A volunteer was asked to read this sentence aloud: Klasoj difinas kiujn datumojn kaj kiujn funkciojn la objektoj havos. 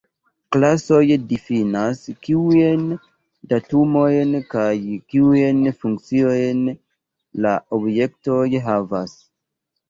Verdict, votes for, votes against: accepted, 2, 1